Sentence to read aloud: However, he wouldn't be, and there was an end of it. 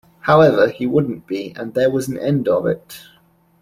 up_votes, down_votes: 2, 0